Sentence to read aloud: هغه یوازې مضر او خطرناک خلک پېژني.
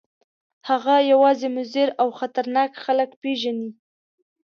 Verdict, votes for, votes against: accepted, 2, 0